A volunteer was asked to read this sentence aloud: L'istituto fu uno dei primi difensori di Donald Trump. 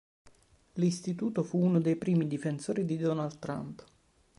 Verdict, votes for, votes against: accepted, 2, 0